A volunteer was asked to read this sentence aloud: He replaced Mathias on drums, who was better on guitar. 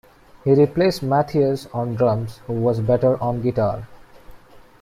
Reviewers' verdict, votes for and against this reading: rejected, 1, 2